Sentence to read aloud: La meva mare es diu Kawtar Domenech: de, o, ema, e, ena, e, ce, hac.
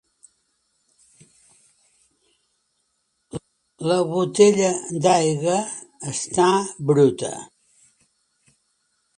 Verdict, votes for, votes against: rejected, 0, 2